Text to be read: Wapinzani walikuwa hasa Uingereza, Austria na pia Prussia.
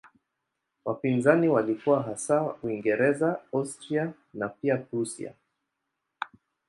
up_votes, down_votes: 2, 0